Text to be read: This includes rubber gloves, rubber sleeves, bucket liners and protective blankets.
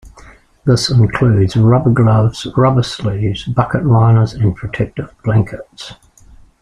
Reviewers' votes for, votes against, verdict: 0, 2, rejected